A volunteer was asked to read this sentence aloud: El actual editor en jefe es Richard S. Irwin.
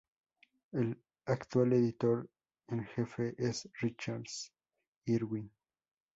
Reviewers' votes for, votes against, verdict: 0, 2, rejected